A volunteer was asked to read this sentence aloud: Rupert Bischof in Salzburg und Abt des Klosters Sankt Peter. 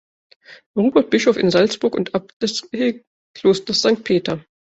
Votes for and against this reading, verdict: 0, 2, rejected